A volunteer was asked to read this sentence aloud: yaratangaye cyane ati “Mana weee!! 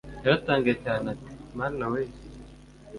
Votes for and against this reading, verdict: 2, 0, accepted